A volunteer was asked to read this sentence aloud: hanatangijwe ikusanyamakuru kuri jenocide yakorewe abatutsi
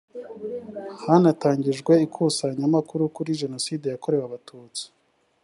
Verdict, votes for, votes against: accepted, 2, 0